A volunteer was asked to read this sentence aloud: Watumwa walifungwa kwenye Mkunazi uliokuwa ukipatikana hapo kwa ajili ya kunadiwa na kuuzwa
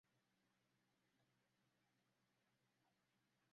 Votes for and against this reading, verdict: 0, 2, rejected